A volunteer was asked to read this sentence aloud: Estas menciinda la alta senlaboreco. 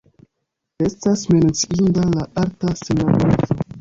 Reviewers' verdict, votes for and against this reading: rejected, 0, 2